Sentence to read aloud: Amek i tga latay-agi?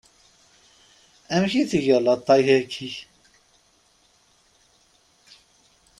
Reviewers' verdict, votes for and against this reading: rejected, 0, 3